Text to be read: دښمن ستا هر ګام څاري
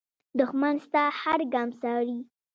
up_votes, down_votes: 0, 2